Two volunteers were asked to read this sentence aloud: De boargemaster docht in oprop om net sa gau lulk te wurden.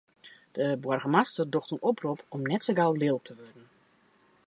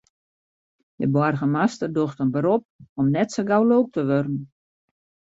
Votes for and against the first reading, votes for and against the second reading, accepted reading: 2, 0, 0, 2, first